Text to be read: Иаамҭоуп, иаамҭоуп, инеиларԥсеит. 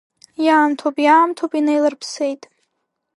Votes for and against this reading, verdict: 1, 2, rejected